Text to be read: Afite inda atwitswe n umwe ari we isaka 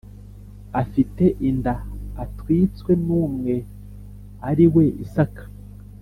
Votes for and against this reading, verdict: 3, 0, accepted